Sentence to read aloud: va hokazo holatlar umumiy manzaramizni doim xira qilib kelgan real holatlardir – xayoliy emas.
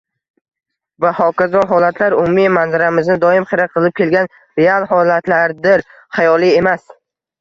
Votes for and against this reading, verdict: 1, 2, rejected